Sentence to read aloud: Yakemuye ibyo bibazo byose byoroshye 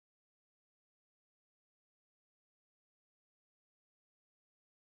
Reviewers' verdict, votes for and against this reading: rejected, 1, 2